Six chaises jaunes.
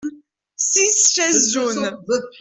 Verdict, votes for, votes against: rejected, 0, 2